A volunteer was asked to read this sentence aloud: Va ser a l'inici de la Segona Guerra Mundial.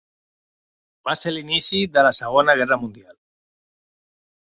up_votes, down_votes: 0, 2